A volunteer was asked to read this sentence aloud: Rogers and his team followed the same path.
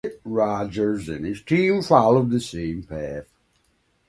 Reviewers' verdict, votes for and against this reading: accepted, 2, 0